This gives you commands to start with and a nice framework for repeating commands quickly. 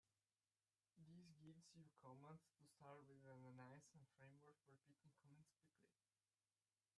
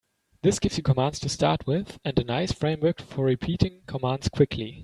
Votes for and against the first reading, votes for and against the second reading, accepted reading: 0, 2, 2, 0, second